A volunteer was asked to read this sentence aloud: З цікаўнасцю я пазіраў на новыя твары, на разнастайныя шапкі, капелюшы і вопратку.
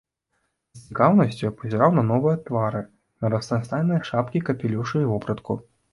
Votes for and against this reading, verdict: 2, 1, accepted